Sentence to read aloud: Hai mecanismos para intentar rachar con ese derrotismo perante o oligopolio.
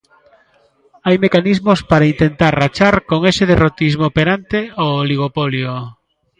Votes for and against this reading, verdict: 2, 0, accepted